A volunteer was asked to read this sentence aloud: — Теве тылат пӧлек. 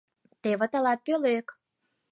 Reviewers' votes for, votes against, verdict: 4, 0, accepted